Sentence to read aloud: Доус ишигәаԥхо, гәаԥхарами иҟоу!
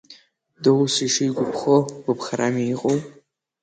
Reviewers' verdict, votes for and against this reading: rejected, 2, 3